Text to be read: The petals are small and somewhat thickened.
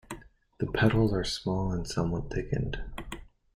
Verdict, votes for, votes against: accepted, 2, 1